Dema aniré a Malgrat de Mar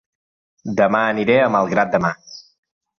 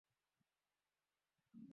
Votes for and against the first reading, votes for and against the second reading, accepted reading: 2, 0, 0, 2, first